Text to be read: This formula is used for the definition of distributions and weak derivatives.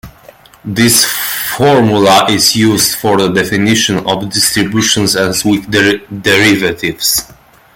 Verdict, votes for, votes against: rejected, 0, 2